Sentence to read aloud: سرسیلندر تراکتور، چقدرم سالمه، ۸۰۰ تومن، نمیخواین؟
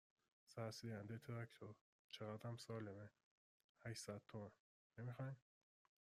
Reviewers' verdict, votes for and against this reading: rejected, 0, 2